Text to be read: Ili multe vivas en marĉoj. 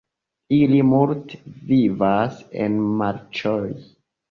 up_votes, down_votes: 0, 2